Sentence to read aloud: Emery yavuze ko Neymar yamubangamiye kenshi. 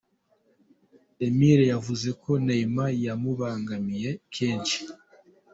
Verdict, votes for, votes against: rejected, 1, 2